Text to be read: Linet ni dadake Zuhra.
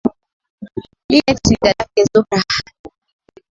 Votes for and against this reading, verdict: 13, 4, accepted